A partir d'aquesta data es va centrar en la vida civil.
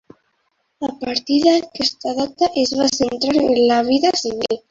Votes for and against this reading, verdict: 3, 1, accepted